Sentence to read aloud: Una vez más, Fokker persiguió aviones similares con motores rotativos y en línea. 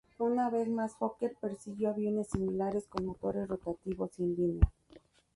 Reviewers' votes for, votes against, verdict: 2, 0, accepted